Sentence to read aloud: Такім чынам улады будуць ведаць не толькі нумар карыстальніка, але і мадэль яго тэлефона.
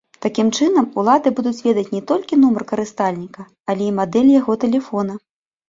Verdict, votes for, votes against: accepted, 2, 0